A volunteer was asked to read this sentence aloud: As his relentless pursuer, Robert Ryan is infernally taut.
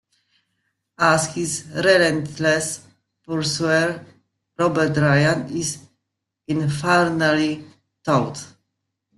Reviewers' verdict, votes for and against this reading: accepted, 2, 0